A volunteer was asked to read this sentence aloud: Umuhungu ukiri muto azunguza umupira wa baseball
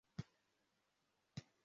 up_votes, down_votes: 0, 2